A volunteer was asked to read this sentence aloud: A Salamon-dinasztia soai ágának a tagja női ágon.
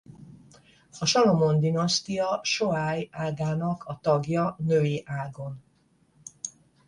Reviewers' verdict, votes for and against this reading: accepted, 10, 0